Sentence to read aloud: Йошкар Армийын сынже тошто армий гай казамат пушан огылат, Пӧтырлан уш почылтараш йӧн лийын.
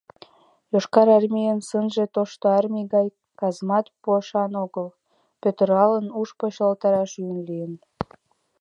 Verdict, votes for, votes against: rejected, 0, 2